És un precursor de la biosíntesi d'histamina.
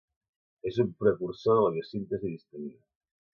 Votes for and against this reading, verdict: 0, 2, rejected